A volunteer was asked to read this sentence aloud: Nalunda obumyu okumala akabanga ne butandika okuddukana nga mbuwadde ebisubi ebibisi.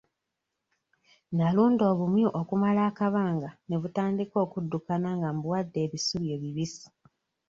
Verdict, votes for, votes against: accepted, 2, 0